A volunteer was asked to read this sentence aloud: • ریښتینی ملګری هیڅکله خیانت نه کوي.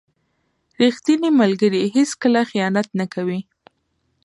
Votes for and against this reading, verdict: 2, 0, accepted